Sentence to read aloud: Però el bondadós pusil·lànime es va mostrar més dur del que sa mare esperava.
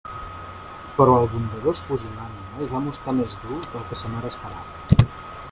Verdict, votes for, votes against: rejected, 0, 2